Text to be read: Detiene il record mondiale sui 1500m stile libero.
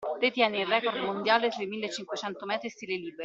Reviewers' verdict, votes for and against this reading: rejected, 0, 2